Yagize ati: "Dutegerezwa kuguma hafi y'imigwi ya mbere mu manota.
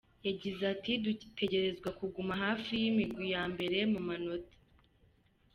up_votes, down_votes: 1, 2